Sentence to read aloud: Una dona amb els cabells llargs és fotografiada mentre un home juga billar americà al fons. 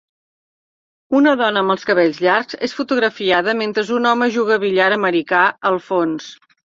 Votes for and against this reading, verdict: 1, 2, rejected